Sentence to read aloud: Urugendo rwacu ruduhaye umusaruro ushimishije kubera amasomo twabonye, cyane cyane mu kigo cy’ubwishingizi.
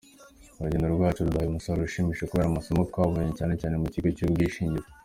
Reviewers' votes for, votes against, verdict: 2, 1, accepted